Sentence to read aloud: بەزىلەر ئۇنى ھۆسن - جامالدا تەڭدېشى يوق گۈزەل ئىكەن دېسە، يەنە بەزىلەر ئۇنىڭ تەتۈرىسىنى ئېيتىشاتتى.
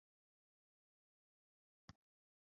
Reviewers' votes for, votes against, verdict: 0, 2, rejected